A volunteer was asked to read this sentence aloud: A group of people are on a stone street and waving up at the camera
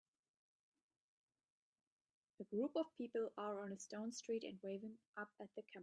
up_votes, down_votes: 0, 2